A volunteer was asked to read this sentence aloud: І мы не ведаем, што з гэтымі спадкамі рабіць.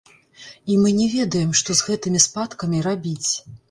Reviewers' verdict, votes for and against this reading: rejected, 0, 2